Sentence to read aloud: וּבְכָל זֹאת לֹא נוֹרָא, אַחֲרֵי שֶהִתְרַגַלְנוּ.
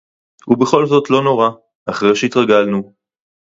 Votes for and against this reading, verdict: 2, 2, rejected